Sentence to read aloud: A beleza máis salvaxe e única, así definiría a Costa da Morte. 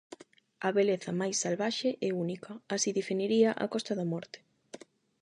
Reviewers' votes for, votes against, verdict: 8, 0, accepted